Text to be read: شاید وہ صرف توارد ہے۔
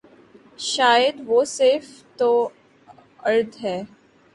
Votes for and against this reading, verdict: 2, 1, accepted